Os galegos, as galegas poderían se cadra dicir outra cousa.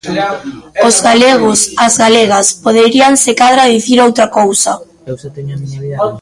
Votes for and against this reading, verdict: 1, 2, rejected